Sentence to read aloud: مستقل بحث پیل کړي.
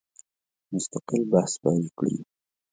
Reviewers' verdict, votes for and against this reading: accepted, 2, 0